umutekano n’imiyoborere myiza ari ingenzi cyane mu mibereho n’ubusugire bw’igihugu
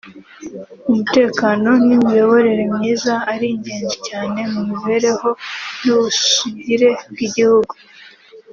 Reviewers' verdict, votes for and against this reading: accepted, 3, 0